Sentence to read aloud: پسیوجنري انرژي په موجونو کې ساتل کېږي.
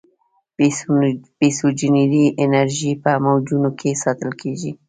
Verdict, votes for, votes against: accepted, 2, 1